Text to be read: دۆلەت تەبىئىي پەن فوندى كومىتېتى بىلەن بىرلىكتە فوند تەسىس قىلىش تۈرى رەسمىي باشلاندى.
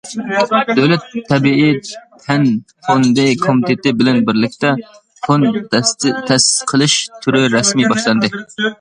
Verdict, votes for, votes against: rejected, 0, 2